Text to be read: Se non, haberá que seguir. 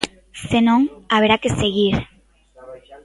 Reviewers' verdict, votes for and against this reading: rejected, 0, 3